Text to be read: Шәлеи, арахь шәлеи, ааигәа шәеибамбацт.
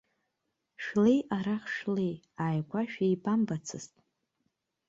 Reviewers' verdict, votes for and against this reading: rejected, 1, 2